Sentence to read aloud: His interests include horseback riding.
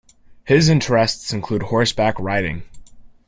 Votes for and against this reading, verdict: 2, 0, accepted